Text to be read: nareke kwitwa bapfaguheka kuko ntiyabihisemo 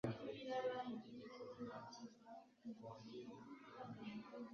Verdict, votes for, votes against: rejected, 1, 2